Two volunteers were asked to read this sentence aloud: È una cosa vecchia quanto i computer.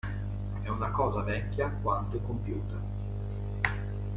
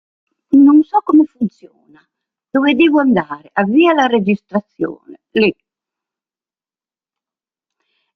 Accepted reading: first